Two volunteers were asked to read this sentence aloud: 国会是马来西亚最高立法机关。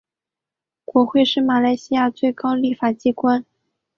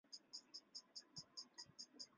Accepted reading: first